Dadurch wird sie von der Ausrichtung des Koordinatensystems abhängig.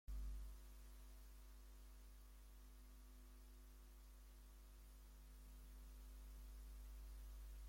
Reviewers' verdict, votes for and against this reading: rejected, 0, 2